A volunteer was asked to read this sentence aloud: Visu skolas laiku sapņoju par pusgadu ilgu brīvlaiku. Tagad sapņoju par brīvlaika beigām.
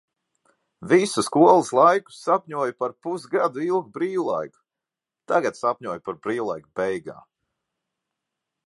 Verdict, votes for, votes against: accepted, 2, 0